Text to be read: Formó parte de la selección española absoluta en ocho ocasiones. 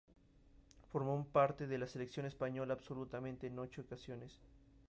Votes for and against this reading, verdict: 0, 2, rejected